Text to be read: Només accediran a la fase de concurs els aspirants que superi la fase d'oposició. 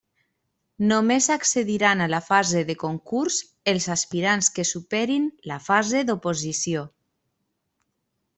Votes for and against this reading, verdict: 1, 3, rejected